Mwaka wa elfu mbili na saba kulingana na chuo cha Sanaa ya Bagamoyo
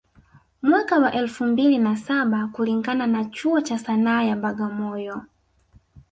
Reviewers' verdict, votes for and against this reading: accepted, 4, 0